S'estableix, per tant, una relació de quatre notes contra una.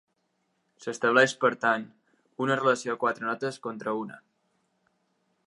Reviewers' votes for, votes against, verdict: 1, 2, rejected